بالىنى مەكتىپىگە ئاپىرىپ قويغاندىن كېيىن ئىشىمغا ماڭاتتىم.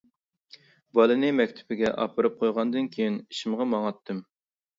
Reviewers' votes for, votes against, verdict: 2, 0, accepted